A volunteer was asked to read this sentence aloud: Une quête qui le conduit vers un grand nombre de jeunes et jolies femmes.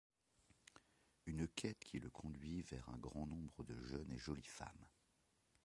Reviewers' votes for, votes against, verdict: 0, 2, rejected